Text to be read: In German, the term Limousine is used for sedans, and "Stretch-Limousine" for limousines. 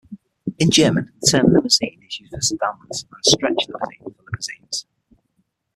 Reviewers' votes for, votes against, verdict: 3, 6, rejected